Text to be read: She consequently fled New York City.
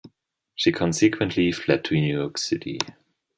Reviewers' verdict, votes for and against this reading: rejected, 0, 2